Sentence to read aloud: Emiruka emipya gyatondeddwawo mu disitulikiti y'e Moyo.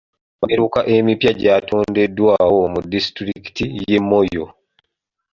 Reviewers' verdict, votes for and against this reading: rejected, 1, 2